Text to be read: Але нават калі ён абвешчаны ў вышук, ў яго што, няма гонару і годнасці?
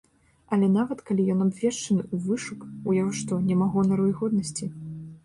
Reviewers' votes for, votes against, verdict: 2, 0, accepted